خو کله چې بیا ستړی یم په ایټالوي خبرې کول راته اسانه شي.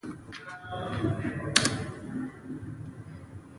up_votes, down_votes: 0, 2